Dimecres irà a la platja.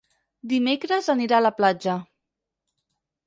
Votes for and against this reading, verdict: 2, 4, rejected